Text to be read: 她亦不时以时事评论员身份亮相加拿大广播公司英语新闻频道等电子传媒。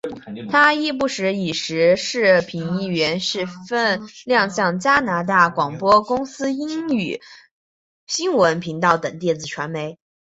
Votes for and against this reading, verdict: 2, 1, accepted